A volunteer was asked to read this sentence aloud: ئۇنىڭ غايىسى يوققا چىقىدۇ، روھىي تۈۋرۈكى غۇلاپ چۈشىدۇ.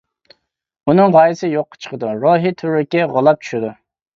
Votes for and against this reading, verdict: 2, 1, accepted